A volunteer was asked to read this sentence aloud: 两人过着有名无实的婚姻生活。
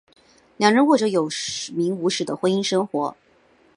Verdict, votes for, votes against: rejected, 2, 3